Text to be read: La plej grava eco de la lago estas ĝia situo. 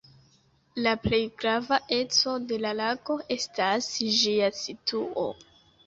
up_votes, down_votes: 1, 2